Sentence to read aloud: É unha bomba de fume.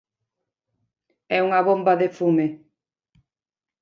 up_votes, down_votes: 9, 0